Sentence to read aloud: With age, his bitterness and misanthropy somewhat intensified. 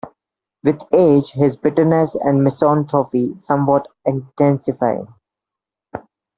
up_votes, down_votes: 1, 2